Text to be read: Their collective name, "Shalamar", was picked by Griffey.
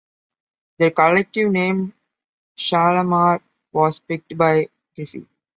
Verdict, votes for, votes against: accepted, 2, 0